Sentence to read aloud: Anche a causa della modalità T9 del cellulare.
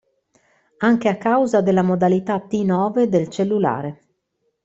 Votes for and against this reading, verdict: 0, 2, rejected